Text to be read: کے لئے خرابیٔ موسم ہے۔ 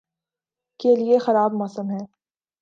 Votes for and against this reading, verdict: 2, 0, accepted